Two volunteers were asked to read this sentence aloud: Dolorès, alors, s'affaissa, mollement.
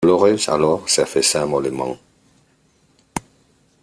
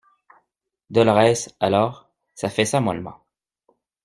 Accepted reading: second